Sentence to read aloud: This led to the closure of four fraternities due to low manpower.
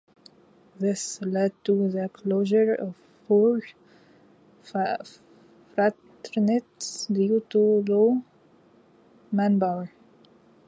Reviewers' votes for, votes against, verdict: 0, 2, rejected